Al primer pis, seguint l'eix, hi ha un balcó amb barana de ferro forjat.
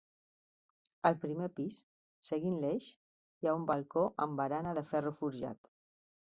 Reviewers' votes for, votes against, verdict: 2, 0, accepted